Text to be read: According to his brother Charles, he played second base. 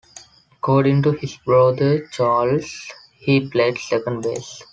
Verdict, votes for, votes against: accepted, 2, 1